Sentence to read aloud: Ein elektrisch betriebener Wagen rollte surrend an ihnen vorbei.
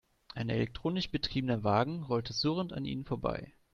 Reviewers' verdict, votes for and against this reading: rejected, 0, 2